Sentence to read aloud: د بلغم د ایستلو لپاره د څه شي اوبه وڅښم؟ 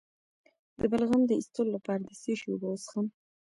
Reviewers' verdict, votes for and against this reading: rejected, 1, 2